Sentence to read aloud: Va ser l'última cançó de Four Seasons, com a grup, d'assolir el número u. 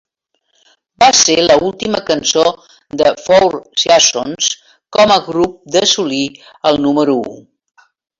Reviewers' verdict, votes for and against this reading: rejected, 0, 2